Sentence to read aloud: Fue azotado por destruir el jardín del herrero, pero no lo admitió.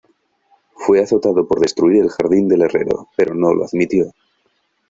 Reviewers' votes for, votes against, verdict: 2, 0, accepted